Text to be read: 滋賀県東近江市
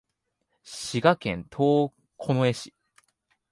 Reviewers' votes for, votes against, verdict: 1, 2, rejected